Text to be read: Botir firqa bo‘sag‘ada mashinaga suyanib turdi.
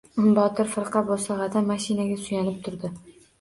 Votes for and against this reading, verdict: 2, 0, accepted